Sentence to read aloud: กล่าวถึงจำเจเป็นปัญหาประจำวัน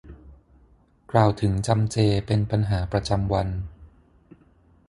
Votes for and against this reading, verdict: 3, 6, rejected